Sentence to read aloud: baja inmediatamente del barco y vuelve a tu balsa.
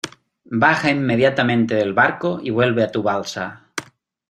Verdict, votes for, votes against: accepted, 2, 0